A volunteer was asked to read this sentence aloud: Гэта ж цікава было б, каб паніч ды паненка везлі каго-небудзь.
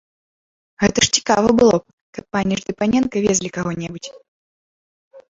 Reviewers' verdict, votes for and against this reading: rejected, 0, 2